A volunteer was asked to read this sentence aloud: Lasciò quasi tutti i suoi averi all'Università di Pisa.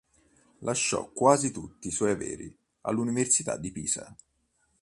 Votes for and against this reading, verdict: 2, 0, accepted